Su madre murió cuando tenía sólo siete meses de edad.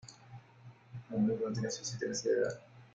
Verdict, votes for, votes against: rejected, 0, 2